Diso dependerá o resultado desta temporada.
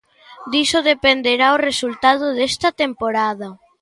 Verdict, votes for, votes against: accepted, 2, 0